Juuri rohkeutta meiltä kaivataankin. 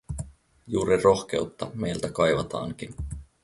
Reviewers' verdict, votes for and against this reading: accepted, 4, 0